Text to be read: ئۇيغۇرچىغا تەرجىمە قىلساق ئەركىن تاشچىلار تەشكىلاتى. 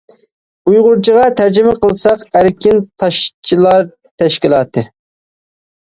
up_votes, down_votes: 2, 0